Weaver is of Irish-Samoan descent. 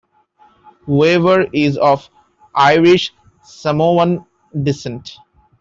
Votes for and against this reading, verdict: 0, 2, rejected